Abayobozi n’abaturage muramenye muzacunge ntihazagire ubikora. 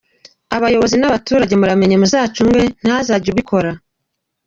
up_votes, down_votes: 2, 0